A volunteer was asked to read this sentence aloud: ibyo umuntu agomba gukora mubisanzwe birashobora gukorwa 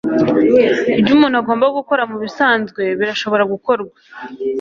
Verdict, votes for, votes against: accepted, 2, 0